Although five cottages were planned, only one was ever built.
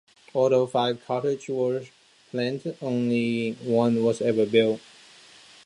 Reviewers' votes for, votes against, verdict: 0, 2, rejected